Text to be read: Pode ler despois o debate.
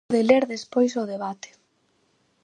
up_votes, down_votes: 0, 4